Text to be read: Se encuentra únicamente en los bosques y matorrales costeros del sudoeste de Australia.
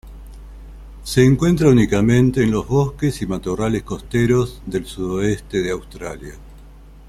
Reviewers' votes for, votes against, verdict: 2, 0, accepted